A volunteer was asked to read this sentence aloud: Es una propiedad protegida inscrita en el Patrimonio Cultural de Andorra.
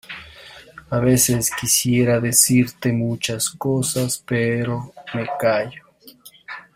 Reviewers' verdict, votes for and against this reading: rejected, 0, 2